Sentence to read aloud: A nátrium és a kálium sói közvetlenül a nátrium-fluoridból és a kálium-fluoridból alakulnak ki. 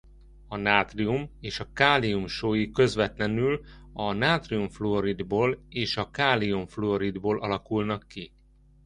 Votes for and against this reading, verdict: 2, 0, accepted